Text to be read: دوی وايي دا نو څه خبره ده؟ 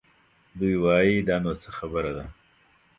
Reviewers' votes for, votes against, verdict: 2, 0, accepted